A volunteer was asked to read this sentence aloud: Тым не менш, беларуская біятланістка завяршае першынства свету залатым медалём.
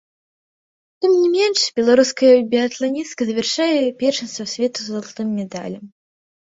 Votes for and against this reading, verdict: 0, 2, rejected